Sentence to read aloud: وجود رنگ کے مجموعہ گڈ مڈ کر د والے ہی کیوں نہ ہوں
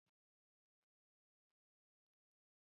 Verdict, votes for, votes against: rejected, 2, 6